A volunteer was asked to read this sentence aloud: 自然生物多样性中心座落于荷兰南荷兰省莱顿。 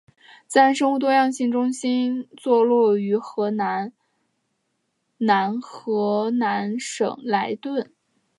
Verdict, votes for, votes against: rejected, 0, 2